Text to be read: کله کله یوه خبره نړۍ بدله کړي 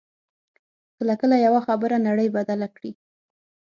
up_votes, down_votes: 6, 0